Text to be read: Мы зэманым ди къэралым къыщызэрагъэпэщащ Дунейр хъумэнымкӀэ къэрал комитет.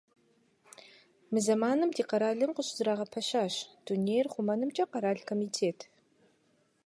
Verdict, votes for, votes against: accepted, 2, 0